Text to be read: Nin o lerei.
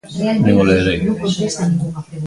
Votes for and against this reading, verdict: 0, 2, rejected